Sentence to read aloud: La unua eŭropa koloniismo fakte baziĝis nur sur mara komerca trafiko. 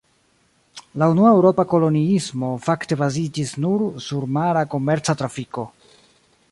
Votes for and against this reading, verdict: 2, 0, accepted